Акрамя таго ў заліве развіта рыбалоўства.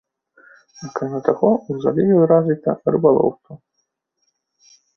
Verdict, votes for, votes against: rejected, 2, 3